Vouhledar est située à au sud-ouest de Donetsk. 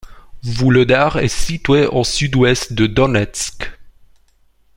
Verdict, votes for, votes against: rejected, 1, 2